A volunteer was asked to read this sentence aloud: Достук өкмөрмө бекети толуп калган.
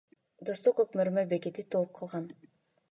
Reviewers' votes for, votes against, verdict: 2, 0, accepted